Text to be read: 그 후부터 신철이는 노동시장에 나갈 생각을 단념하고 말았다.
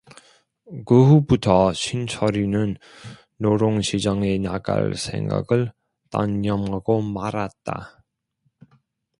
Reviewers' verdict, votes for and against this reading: rejected, 0, 2